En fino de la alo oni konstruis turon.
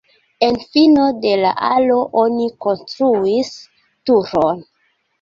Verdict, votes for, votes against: accepted, 2, 0